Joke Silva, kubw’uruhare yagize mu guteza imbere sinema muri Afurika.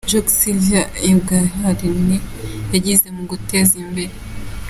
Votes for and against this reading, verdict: 0, 2, rejected